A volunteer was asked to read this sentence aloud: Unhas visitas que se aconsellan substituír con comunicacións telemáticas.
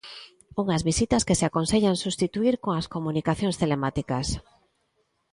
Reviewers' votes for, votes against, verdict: 0, 2, rejected